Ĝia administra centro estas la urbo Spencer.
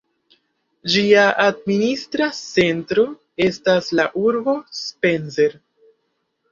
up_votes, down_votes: 1, 3